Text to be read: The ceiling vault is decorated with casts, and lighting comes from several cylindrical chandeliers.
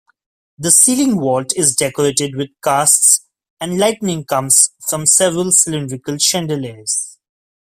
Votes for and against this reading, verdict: 0, 2, rejected